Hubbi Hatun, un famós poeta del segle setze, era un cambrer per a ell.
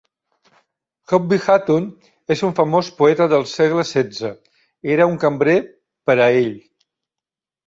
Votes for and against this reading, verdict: 0, 2, rejected